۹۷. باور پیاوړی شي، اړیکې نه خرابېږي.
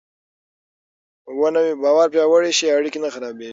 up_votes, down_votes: 0, 2